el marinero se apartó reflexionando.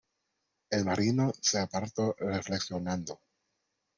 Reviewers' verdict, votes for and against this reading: rejected, 0, 2